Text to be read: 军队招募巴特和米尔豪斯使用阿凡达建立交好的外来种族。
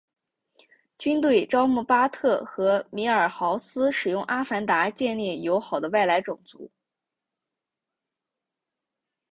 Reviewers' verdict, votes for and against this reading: accepted, 4, 0